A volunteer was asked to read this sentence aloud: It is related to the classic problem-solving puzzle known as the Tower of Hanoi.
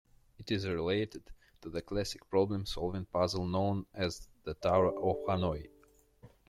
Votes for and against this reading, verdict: 0, 2, rejected